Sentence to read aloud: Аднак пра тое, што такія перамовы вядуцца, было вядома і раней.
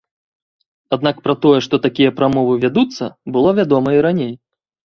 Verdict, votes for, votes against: rejected, 1, 2